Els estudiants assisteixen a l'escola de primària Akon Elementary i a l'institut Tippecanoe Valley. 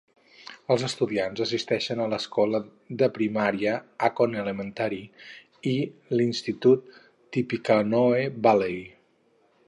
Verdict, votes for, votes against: rejected, 2, 2